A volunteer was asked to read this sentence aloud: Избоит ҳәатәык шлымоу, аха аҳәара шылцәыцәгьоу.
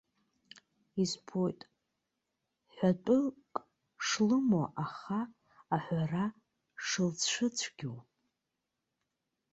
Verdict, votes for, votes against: accepted, 2, 0